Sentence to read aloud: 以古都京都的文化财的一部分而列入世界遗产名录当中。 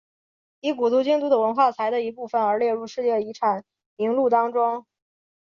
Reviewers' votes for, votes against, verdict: 3, 0, accepted